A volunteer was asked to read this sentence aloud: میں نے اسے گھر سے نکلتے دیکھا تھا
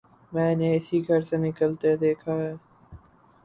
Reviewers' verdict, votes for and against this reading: rejected, 2, 4